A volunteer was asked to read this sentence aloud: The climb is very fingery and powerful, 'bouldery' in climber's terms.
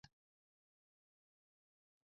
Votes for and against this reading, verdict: 0, 2, rejected